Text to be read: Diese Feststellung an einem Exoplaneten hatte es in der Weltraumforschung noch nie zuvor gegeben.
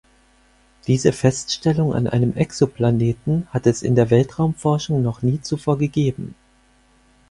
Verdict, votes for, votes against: accepted, 4, 0